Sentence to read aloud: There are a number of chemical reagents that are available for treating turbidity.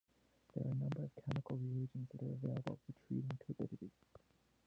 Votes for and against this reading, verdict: 0, 2, rejected